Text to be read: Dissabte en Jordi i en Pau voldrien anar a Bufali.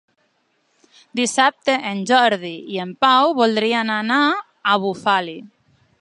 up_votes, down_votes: 4, 0